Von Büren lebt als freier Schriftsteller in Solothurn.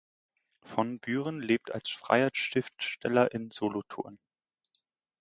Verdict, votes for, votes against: accepted, 2, 0